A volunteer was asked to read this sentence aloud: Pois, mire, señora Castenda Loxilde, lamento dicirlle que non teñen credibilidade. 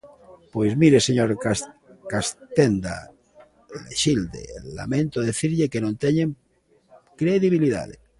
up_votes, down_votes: 0, 2